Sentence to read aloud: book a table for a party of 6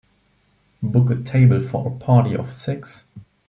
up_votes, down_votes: 0, 2